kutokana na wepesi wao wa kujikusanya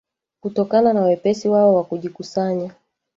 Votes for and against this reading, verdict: 2, 1, accepted